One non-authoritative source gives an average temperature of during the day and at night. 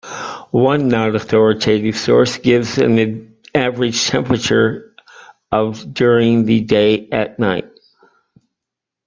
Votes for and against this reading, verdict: 1, 2, rejected